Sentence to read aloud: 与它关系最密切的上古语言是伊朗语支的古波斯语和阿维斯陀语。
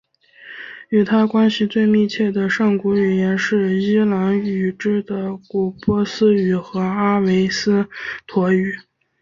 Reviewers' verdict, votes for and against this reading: accepted, 2, 0